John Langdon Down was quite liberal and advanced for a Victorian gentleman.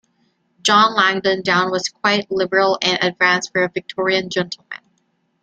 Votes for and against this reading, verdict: 2, 0, accepted